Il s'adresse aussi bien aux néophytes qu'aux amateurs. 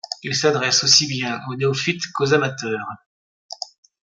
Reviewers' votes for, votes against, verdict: 2, 0, accepted